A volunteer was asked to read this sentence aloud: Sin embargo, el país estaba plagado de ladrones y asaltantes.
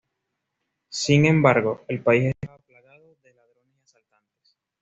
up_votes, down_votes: 1, 2